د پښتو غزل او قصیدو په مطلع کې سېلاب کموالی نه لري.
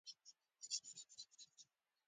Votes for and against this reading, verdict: 1, 2, rejected